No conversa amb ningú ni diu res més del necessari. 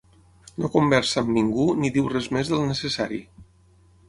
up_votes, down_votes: 9, 0